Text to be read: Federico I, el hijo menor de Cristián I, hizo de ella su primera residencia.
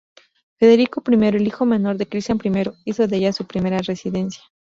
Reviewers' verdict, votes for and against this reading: accepted, 2, 0